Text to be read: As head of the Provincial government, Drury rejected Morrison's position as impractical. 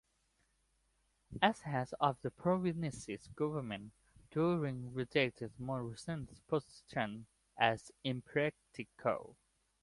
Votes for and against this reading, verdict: 0, 2, rejected